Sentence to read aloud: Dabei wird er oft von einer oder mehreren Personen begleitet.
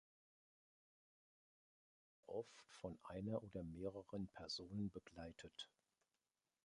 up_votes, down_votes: 0, 2